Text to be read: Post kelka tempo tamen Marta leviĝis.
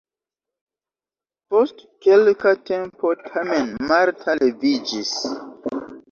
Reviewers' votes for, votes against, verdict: 2, 1, accepted